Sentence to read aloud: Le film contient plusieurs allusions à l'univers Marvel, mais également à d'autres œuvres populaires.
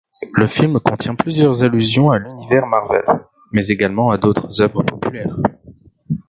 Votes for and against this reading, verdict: 1, 2, rejected